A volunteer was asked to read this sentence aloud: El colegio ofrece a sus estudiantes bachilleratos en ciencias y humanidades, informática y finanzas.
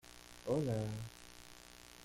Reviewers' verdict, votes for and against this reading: rejected, 0, 2